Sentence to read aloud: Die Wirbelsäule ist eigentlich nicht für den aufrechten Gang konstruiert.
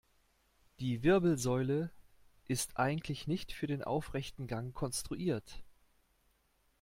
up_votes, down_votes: 2, 0